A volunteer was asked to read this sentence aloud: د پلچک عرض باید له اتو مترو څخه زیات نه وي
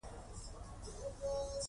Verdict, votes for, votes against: rejected, 1, 2